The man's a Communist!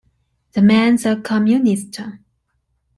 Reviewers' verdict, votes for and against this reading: accepted, 2, 1